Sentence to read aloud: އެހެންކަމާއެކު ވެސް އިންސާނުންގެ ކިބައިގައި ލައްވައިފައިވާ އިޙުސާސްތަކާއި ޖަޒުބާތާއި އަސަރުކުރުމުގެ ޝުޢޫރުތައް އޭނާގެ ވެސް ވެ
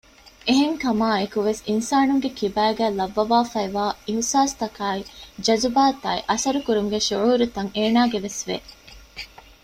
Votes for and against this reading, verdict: 1, 2, rejected